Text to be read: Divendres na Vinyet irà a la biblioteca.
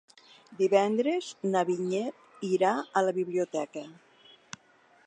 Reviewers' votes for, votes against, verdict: 3, 1, accepted